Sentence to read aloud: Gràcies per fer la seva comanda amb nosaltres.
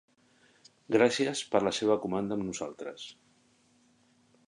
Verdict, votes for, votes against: rejected, 0, 2